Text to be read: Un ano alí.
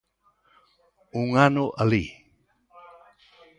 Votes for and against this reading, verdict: 2, 0, accepted